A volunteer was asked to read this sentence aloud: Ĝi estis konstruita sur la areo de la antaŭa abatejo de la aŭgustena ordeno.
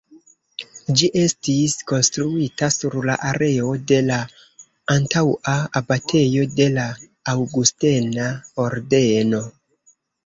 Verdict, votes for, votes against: rejected, 1, 2